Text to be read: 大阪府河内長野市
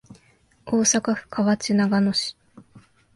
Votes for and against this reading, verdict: 2, 0, accepted